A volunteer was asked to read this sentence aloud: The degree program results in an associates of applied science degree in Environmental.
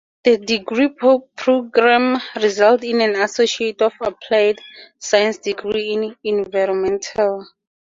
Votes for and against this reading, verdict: 0, 2, rejected